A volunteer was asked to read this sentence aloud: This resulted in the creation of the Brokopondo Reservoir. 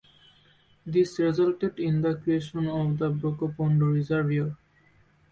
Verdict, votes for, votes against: rejected, 1, 2